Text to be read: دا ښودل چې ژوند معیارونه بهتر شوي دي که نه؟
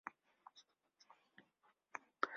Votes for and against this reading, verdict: 0, 3, rejected